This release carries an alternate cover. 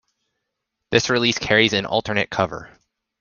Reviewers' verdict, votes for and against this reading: accepted, 2, 0